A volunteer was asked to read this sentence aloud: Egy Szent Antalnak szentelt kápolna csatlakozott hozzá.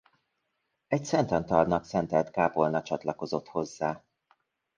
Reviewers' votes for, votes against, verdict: 2, 0, accepted